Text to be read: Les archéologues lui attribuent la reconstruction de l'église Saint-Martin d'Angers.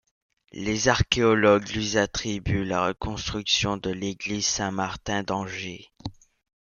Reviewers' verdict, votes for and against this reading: rejected, 1, 2